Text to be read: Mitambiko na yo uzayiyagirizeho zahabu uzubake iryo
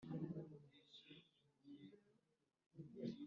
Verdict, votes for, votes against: rejected, 0, 2